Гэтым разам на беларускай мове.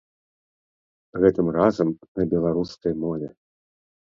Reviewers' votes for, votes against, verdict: 2, 0, accepted